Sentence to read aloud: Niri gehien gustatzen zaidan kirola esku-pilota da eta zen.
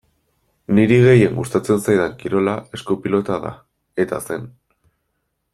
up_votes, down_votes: 2, 0